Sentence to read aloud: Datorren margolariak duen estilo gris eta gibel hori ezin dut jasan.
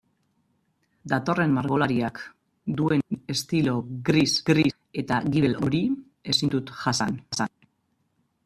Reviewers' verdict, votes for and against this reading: rejected, 0, 2